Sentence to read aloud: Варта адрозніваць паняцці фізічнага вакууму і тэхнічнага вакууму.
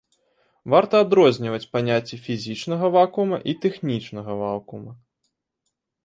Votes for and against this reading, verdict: 0, 2, rejected